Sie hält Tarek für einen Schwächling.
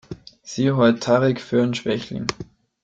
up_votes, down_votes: 0, 2